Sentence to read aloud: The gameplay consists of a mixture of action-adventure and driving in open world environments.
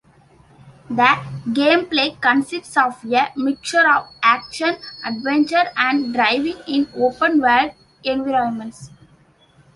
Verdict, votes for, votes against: accepted, 3, 2